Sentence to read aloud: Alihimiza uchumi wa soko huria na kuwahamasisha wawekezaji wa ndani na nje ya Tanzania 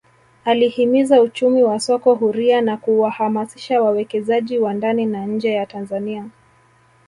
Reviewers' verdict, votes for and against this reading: accepted, 2, 0